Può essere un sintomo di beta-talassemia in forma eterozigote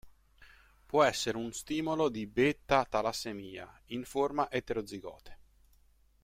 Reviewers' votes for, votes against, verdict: 0, 2, rejected